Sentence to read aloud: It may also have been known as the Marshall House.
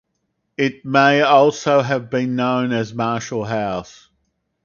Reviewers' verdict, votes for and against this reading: accepted, 4, 2